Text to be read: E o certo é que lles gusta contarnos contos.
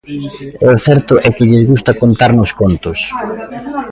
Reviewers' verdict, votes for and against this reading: accepted, 2, 1